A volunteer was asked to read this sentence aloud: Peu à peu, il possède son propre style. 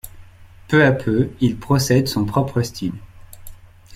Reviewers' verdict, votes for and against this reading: rejected, 0, 2